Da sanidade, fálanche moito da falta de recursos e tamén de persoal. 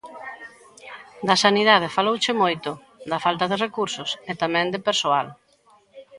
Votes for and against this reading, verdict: 1, 2, rejected